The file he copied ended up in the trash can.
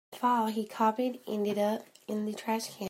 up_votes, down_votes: 0, 2